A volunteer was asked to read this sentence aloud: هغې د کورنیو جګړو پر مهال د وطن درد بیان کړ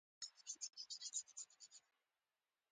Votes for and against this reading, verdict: 1, 2, rejected